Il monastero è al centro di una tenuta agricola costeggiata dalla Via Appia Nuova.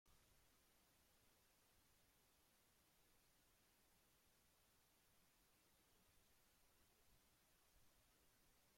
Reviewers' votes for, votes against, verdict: 0, 2, rejected